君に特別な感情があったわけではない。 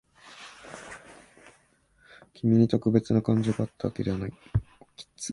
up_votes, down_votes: 1, 2